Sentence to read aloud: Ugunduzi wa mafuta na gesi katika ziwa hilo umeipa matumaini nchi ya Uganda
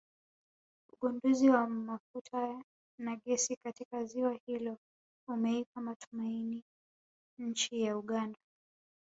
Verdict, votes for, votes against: rejected, 1, 2